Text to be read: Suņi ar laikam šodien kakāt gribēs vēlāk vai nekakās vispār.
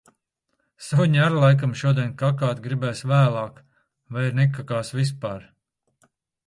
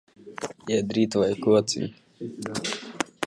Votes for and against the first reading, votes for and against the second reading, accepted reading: 2, 0, 0, 2, first